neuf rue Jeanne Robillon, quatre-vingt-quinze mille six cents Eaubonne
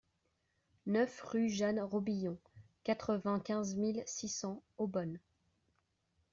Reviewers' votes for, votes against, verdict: 2, 0, accepted